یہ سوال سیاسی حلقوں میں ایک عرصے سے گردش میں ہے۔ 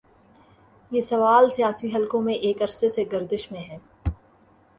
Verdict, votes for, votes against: accepted, 6, 0